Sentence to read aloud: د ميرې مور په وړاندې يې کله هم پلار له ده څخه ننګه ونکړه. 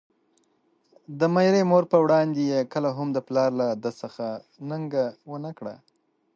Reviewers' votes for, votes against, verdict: 1, 2, rejected